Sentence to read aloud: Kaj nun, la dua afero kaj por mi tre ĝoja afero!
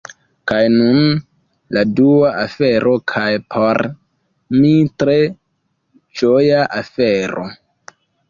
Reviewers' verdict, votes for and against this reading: rejected, 1, 2